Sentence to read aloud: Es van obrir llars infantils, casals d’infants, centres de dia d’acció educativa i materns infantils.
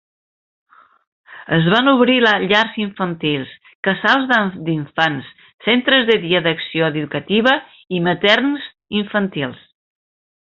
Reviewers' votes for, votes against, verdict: 1, 2, rejected